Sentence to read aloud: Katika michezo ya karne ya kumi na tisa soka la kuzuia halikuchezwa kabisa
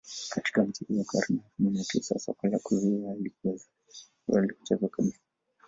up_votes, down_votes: 1, 2